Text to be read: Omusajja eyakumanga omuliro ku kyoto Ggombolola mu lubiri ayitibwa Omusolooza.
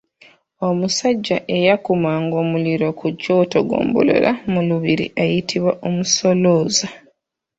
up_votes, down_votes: 3, 4